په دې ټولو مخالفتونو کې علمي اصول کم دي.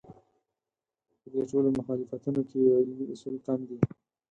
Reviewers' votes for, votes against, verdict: 2, 4, rejected